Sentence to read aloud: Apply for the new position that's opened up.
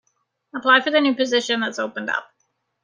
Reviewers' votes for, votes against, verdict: 2, 0, accepted